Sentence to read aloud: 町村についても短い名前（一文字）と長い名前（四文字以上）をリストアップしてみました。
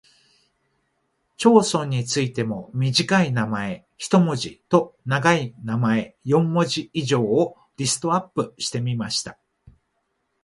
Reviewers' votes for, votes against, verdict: 0, 2, rejected